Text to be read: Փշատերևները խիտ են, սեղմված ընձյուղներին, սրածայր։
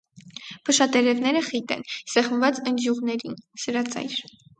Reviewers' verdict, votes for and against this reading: accepted, 4, 0